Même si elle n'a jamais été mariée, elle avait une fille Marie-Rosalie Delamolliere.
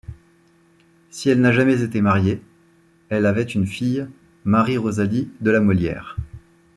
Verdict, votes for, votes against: rejected, 1, 2